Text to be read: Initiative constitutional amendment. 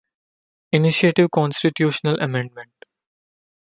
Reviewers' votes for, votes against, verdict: 2, 1, accepted